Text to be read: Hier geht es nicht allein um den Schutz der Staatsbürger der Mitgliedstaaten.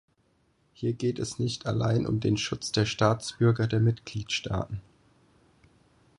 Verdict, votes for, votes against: accepted, 4, 0